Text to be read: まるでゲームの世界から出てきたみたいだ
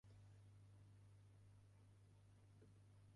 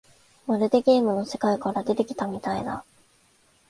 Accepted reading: second